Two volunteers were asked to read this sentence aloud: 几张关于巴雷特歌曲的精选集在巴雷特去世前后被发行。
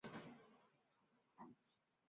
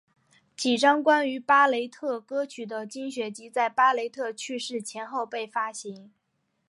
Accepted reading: second